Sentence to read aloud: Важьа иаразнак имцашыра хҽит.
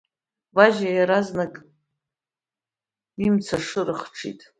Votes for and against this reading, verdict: 2, 0, accepted